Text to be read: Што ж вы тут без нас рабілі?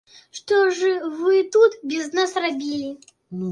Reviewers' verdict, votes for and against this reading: rejected, 1, 2